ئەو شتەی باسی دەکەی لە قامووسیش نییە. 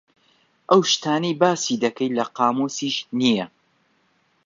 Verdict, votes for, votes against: rejected, 0, 2